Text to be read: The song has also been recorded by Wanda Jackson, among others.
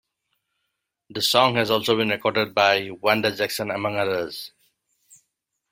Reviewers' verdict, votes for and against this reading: rejected, 1, 2